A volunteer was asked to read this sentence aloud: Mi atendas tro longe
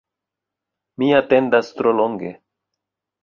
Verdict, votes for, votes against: accepted, 2, 1